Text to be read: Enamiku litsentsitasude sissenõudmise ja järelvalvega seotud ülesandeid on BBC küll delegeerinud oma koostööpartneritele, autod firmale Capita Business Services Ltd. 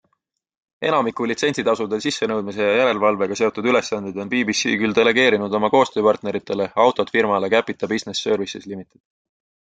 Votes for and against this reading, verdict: 2, 0, accepted